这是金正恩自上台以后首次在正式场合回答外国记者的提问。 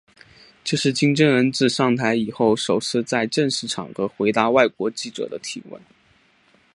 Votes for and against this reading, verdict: 3, 0, accepted